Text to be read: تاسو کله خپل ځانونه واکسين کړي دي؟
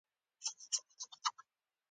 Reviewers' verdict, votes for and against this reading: accepted, 2, 1